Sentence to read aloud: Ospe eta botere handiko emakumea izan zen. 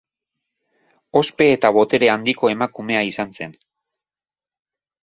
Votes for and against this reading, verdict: 2, 0, accepted